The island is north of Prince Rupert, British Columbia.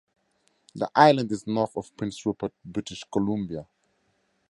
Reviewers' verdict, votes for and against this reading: accepted, 2, 0